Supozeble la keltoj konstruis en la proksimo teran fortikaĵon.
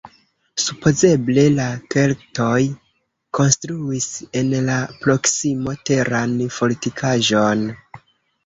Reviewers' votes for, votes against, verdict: 1, 2, rejected